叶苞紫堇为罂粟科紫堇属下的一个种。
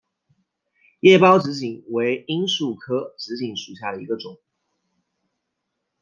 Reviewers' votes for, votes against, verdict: 2, 0, accepted